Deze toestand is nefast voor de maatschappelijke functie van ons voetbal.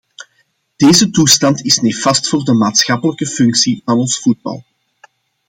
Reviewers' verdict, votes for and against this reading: accepted, 2, 0